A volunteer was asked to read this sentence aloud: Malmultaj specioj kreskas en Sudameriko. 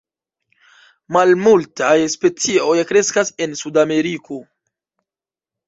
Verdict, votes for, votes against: rejected, 0, 2